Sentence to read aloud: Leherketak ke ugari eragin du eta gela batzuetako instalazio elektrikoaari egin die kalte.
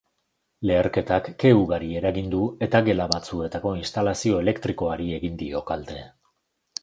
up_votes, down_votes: 0, 2